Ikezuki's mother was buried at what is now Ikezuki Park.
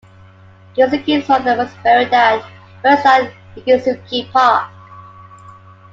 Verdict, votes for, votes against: rejected, 1, 2